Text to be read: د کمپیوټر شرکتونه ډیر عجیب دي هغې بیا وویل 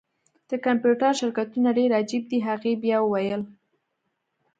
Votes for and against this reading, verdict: 1, 2, rejected